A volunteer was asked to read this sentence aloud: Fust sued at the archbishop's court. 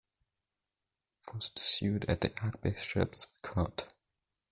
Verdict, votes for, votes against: rejected, 0, 2